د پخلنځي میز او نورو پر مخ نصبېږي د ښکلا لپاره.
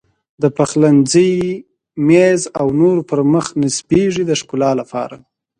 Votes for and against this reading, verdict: 2, 0, accepted